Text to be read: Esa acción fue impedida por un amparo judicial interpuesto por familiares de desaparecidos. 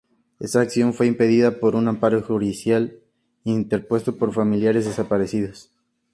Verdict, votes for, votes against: accepted, 2, 0